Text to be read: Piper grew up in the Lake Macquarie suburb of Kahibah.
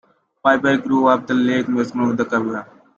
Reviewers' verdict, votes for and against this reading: rejected, 0, 2